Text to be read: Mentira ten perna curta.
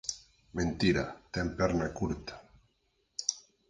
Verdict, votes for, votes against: accepted, 4, 0